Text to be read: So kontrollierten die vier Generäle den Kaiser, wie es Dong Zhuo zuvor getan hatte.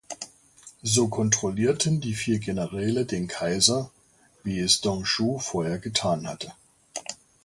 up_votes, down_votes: 0, 2